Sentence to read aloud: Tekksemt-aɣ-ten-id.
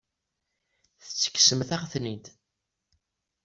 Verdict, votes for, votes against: accepted, 2, 0